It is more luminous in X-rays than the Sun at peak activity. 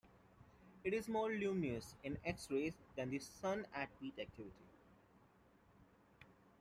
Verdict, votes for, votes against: accepted, 2, 1